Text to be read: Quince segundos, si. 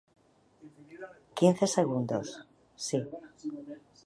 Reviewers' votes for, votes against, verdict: 2, 1, accepted